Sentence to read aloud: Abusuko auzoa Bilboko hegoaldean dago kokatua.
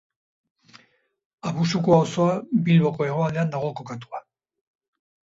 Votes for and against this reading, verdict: 2, 0, accepted